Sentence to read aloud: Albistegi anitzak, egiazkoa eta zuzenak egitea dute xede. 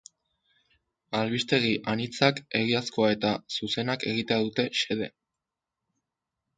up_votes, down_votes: 2, 0